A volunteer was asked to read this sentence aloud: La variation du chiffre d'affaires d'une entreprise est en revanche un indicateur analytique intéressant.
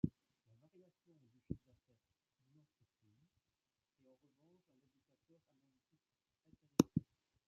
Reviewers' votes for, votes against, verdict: 0, 2, rejected